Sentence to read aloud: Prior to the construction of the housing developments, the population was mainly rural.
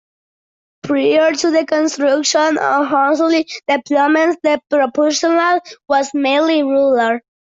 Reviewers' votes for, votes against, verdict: 0, 2, rejected